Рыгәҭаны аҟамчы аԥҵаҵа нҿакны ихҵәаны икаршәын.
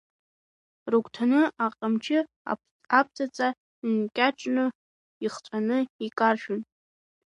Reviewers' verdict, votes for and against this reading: rejected, 0, 3